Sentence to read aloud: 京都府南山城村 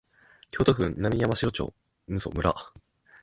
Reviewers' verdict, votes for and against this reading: accepted, 2, 1